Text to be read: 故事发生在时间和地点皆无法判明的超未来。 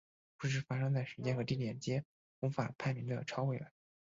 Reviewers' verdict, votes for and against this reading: accepted, 5, 0